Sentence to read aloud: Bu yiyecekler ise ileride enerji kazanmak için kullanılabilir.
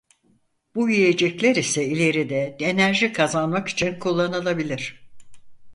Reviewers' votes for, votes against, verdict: 4, 0, accepted